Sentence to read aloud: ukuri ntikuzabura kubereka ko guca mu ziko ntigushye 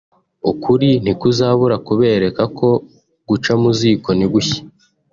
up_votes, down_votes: 2, 0